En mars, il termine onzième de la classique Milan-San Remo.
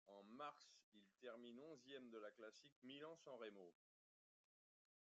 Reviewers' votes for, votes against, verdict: 0, 2, rejected